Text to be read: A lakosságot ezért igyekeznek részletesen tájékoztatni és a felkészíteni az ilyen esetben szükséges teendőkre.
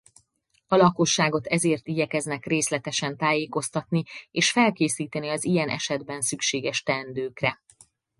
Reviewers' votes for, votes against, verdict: 2, 2, rejected